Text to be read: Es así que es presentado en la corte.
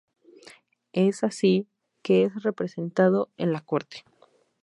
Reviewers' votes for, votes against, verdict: 2, 2, rejected